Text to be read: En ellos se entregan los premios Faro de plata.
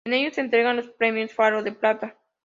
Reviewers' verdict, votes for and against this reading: accepted, 3, 0